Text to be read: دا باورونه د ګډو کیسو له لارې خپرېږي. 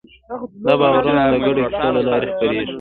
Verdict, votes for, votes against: accepted, 2, 1